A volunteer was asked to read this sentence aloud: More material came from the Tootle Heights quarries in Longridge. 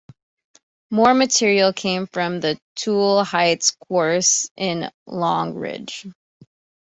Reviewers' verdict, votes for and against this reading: accepted, 2, 1